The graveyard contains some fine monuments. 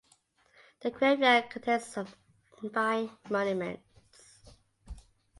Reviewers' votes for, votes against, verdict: 2, 1, accepted